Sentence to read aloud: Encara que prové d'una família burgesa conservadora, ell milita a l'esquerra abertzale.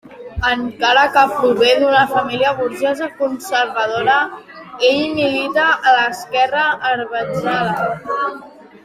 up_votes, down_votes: 1, 2